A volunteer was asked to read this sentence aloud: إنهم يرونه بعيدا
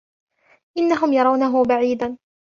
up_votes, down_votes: 2, 0